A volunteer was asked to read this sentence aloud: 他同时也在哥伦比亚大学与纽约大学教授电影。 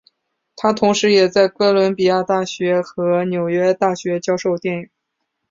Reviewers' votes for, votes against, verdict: 2, 1, accepted